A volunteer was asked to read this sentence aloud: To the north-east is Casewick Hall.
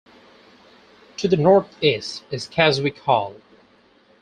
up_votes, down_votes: 4, 0